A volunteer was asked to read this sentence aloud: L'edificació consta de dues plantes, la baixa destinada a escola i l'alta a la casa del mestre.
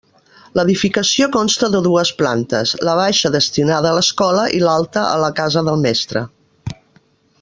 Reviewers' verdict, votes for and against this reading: rejected, 0, 2